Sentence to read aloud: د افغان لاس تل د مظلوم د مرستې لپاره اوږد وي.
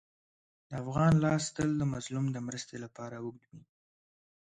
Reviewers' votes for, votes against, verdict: 1, 3, rejected